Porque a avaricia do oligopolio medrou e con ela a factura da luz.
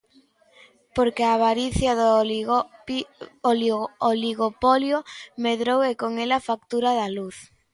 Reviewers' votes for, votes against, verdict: 0, 2, rejected